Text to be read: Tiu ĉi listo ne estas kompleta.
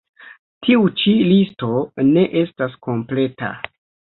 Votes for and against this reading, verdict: 3, 0, accepted